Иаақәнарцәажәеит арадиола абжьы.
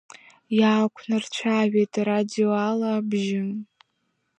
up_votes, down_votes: 1, 2